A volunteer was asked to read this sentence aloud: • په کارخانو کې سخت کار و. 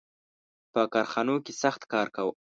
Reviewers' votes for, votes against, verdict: 3, 1, accepted